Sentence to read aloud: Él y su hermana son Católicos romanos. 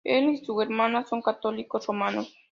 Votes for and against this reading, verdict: 2, 0, accepted